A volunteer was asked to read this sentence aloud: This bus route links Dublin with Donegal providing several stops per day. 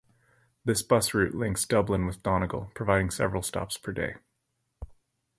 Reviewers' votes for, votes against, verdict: 2, 2, rejected